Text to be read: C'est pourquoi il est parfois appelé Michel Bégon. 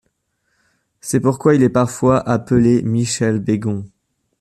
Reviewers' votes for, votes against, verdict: 2, 0, accepted